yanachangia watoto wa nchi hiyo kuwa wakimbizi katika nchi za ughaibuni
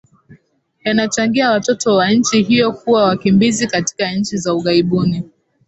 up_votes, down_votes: 15, 1